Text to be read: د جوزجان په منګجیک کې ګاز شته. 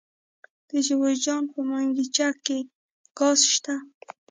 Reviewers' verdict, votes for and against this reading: rejected, 1, 2